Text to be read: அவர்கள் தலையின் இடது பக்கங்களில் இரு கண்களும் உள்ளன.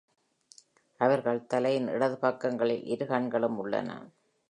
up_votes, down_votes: 3, 1